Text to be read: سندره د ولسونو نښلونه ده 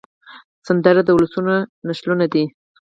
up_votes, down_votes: 2, 4